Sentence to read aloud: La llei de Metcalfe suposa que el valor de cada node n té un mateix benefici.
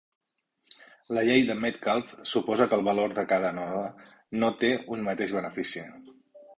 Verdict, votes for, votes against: rejected, 0, 2